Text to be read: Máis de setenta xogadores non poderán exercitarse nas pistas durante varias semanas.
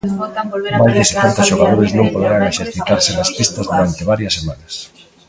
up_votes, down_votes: 0, 2